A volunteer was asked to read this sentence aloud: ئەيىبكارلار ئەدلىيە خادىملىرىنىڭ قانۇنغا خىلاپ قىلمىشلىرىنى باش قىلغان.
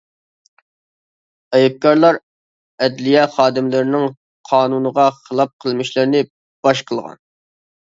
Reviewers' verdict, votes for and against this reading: accepted, 2, 0